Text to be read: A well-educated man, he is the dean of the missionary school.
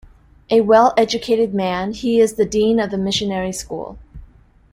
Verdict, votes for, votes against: accepted, 2, 0